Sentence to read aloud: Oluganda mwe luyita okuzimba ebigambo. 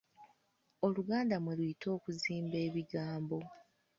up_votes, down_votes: 2, 0